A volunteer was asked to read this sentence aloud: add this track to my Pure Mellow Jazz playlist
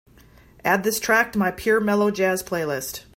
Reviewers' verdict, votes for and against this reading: accepted, 3, 0